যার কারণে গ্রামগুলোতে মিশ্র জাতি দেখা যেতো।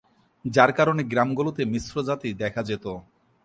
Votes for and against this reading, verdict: 3, 0, accepted